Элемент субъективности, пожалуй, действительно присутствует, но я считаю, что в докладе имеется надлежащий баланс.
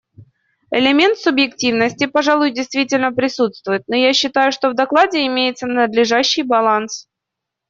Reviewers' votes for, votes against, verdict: 2, 0, accepted